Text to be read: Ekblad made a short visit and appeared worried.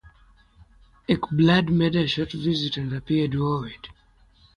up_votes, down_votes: 3, 3